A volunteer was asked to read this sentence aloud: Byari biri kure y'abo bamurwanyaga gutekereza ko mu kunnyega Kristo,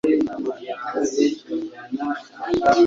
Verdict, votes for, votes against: rejected, 1, 2